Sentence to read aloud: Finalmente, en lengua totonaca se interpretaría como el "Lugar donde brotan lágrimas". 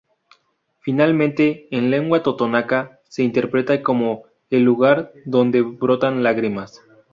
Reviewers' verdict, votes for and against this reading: rejected, 0, 2